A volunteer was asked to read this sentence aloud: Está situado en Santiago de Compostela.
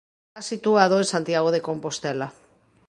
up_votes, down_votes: 1, 2